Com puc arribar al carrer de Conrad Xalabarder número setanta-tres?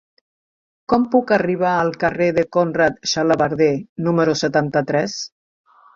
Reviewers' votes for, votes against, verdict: 2, 0, accepted